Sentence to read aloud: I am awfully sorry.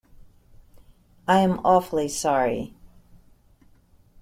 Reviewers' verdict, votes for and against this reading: accepted, 2, 0